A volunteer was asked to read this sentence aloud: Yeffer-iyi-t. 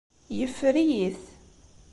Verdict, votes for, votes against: accepted, 2, 0